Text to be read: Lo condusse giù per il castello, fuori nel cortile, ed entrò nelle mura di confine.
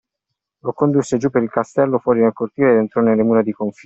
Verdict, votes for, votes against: rejected, 1, 2